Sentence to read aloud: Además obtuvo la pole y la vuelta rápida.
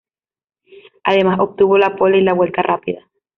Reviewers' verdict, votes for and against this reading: rejected, 1, 2